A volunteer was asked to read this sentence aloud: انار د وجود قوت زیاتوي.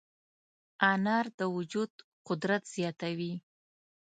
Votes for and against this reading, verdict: 0, 2, rejected